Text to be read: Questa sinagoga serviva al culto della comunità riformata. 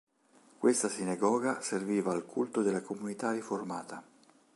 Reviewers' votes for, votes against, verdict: 3, 0, accepted